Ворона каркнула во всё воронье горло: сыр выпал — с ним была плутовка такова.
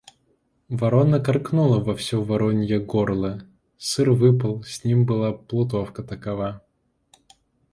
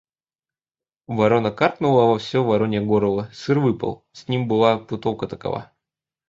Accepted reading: first